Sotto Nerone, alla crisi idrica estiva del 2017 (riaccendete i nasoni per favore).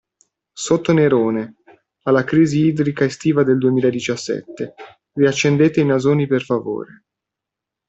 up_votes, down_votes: 0, 2